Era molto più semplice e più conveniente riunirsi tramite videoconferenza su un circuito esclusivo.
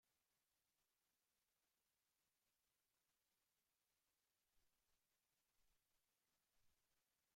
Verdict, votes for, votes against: rejected, 0, 2